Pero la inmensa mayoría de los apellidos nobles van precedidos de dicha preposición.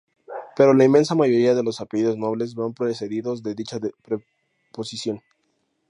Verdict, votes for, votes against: rejected, 0, 2